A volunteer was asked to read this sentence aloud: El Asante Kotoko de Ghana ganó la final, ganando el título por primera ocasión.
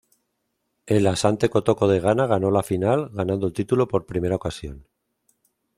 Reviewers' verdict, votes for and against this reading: accepted, 2, 0